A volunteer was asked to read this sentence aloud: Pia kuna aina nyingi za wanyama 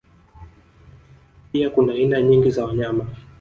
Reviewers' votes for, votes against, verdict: 1, 2, rejected